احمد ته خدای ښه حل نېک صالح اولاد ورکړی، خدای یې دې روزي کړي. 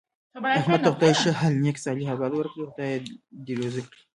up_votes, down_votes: 0, 2